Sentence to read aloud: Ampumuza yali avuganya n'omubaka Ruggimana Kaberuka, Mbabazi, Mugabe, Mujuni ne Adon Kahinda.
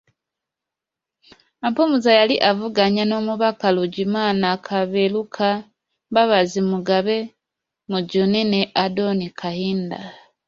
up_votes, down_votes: 0, 2